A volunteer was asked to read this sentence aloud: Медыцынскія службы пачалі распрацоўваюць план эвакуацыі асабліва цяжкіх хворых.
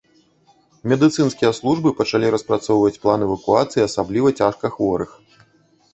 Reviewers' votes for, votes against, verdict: 0, 2, rejected